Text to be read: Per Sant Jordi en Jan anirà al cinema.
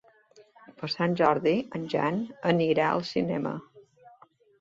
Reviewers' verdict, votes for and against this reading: accepted, 2, 0